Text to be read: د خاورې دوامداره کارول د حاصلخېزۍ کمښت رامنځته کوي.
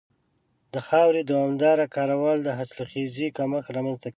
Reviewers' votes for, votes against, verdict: 1, 2, rejected